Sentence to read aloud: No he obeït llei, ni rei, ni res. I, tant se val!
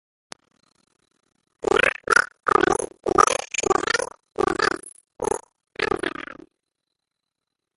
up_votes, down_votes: 0, 2